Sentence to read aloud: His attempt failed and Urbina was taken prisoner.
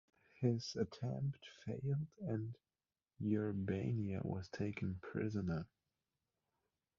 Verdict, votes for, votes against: rejected, 1, 2